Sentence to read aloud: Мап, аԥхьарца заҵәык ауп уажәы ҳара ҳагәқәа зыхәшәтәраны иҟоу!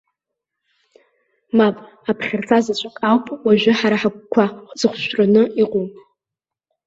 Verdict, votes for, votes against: accepted, 2, 0